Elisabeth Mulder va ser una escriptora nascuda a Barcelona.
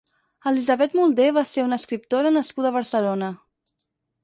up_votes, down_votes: 4, 0